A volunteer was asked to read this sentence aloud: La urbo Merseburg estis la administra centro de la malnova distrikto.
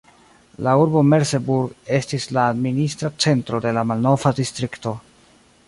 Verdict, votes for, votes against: rejected, 1, 2